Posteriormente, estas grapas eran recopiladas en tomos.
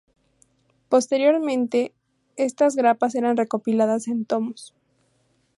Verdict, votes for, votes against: accepted, 2, 0